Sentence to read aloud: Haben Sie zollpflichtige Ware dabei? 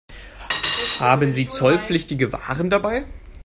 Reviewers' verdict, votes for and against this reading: rejected, 0, 2